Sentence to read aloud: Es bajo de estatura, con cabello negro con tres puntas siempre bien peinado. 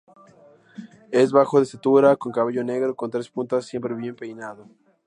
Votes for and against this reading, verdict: 2, 0, accepted